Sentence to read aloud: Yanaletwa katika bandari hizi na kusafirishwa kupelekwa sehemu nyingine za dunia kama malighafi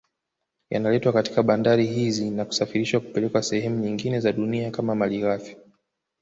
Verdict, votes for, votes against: accepted, 2, 1